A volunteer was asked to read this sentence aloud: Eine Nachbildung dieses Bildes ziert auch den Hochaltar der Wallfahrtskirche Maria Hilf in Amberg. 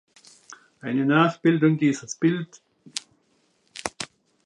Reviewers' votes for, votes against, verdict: 0, 2, rejected